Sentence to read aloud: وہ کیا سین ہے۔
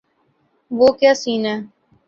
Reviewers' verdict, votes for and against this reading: accepted, 2, 0